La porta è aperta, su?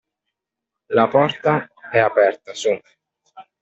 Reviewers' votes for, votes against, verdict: 2, 0, accepted